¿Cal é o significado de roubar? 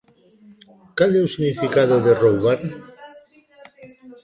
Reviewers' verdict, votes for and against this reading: rejected, 1, 2